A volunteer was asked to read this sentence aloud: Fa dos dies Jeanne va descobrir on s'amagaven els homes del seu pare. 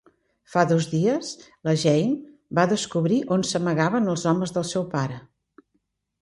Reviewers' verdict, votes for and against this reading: rejected, 0, 2